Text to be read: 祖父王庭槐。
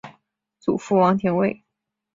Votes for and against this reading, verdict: 1, 2, rejected